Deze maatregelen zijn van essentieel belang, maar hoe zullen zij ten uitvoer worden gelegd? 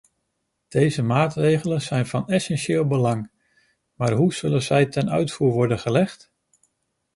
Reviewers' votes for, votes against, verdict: 2, 1, accepted